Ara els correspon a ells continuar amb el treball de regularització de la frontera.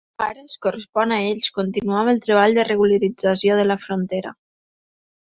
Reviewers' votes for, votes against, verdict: 1, 2, rejected